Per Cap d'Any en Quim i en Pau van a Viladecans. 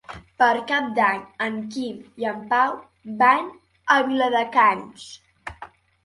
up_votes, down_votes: 2, 0